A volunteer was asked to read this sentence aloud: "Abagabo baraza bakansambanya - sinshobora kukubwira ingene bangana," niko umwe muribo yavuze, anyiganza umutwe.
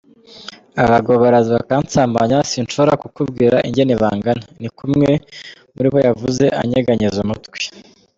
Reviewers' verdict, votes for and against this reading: rejected, 1, 2